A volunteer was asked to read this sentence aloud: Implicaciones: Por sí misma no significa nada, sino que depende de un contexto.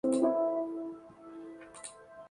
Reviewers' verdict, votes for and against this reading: rejected, 0, 2